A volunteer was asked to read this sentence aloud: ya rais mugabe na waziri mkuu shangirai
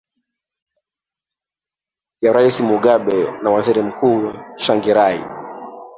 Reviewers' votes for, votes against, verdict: 0, 2, rejected